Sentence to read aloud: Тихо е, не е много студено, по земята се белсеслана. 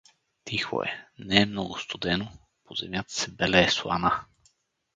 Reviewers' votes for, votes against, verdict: 0, 4, rejected